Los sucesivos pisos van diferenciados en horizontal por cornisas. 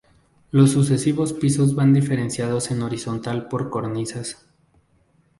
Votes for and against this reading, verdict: 2, 0, accepted